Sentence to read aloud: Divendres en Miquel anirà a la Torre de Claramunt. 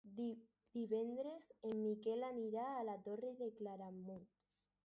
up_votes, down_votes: 4, 0